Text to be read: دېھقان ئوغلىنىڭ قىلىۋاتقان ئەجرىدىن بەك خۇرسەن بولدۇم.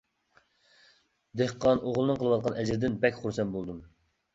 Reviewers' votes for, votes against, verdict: 2, 1, accepted